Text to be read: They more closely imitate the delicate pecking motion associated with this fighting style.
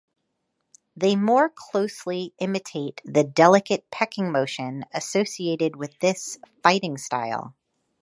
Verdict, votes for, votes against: accepted, 2, 0